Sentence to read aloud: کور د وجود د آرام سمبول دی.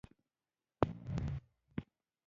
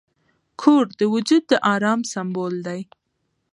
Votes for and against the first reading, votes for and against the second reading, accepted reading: 0, 2, 2, 0, second